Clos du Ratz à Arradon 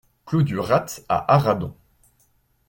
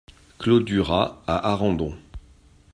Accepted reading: first